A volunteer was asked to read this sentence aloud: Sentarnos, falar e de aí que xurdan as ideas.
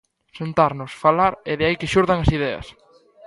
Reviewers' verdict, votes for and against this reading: accepted, 2, 0